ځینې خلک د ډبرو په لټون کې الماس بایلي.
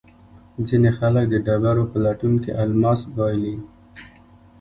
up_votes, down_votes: 2, 0